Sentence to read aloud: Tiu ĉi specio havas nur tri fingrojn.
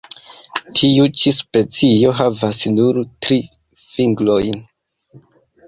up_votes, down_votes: 2, 1